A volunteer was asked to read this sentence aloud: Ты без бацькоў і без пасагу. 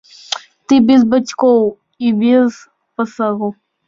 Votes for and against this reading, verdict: 2, 0, accepted